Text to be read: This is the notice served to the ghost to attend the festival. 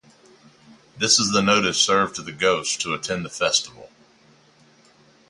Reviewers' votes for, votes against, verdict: 0, 2, rejected